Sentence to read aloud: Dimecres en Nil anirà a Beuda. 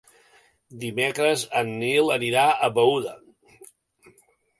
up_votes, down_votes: 3, 0